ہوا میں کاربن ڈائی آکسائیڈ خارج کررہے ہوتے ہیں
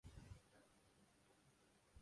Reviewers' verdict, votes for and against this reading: rejected, 0, 2